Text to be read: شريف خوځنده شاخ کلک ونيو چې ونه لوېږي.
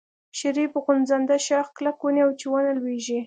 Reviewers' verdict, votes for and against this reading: accepted, 2, 0